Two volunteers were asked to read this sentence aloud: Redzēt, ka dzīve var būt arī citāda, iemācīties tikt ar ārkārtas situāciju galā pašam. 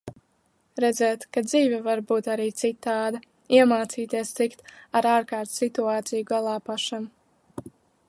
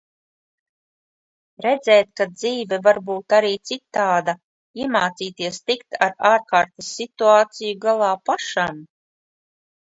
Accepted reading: first